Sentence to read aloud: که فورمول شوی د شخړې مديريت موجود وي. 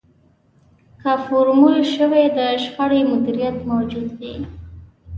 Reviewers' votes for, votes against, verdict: 2, 0, accepted